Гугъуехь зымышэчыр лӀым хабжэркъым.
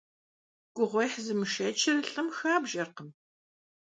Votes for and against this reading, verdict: 2, 0, accepted